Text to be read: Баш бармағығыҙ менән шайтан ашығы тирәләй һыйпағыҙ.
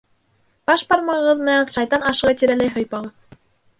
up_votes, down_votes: 0, 2